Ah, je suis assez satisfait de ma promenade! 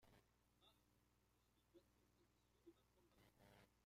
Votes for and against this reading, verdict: 0, 2, rejected